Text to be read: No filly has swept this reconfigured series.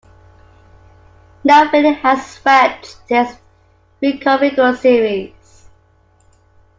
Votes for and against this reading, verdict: 0, 2, rejected